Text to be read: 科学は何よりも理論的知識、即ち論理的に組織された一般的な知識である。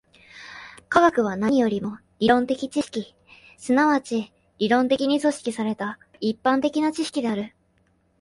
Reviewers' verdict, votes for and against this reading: rejected, 0, 2